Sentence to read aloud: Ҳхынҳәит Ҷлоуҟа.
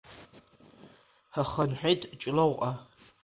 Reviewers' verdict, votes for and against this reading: accepted, 3, 0